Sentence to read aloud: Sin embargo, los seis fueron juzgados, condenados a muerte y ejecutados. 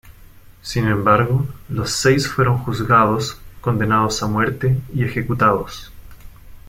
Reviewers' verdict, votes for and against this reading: accepted, 2, 0